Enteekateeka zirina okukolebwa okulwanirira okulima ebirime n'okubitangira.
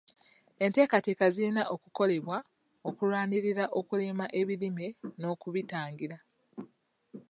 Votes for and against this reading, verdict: 1, 2, rejected